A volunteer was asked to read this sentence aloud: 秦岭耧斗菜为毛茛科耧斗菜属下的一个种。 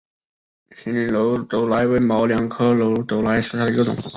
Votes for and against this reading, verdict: 1, 2, rejected